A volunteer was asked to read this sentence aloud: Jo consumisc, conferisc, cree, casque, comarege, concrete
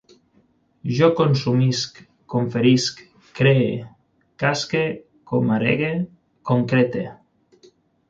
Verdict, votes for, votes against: rejected, 3, 6